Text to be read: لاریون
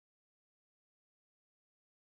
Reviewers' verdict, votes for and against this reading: rejected, 1, 2